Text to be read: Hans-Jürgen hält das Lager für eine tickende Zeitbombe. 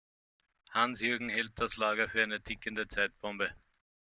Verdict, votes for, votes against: accepted, 2, 0